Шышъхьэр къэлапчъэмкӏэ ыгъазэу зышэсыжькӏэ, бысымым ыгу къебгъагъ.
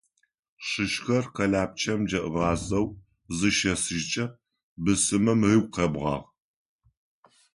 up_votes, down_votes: 1, 2